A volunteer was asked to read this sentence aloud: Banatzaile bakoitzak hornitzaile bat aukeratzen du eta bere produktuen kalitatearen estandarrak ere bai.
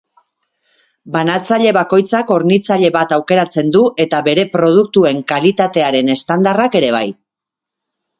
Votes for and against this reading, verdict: 3, 0, accepted